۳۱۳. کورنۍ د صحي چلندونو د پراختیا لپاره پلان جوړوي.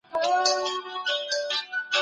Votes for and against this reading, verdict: 0, 2, rejected